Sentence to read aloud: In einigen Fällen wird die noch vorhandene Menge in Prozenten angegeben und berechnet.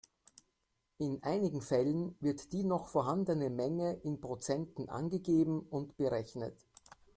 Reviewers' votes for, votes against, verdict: 2, 0, accepted